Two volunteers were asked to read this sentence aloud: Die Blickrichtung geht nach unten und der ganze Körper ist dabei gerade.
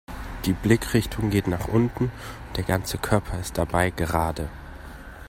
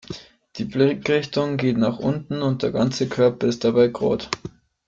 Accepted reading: first